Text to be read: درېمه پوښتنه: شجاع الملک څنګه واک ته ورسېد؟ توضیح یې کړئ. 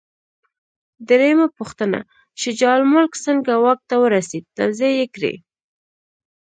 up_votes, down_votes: 2, 0